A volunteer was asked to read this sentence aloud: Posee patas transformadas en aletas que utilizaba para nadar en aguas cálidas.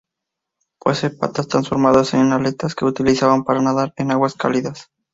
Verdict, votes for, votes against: accepted, 4, 2